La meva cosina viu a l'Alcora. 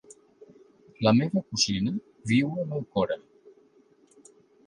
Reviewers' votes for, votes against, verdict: 1, 2, rejected